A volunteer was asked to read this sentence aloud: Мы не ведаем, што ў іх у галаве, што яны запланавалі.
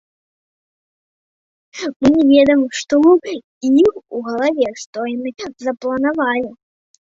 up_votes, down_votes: 0, 2